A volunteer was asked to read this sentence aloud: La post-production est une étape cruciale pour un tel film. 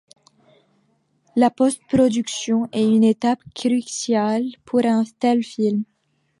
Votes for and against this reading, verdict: 2, 1, accepted